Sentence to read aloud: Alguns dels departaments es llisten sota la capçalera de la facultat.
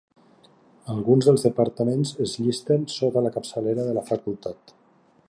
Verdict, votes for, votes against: accepted, 2, 0